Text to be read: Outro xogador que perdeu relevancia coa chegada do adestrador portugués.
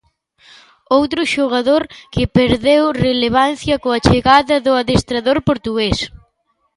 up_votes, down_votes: 2, 0